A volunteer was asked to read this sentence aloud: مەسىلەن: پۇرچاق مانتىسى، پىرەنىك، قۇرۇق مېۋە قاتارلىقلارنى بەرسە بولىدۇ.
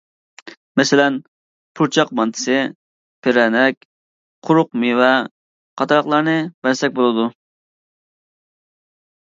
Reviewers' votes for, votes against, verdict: 1, 2, rejected